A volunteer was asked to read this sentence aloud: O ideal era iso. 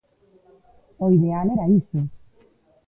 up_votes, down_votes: 1, 2